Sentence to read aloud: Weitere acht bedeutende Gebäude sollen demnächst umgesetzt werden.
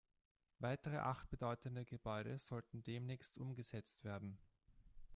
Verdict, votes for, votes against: rejected, 0, 2